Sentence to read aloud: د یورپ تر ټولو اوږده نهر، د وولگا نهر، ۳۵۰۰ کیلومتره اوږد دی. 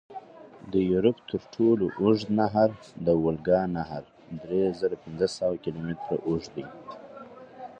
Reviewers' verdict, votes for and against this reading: rejected, 0, 2